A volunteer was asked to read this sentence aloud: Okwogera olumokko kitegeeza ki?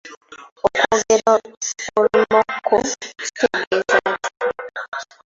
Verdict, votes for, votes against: rejected, 0, 2